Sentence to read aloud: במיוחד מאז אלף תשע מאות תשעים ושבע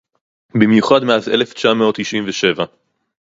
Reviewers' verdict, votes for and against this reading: accepted, 4, 0